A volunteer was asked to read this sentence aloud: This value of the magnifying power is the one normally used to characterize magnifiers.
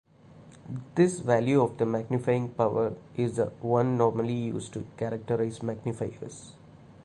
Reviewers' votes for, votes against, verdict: 1, 2, rejected